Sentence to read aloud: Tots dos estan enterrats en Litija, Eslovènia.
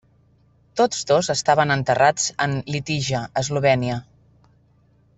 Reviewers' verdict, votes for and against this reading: rejected, 0, 2